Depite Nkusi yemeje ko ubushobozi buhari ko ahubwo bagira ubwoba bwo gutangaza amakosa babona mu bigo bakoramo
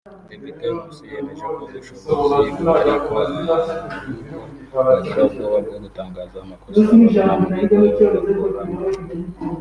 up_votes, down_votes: 3, 0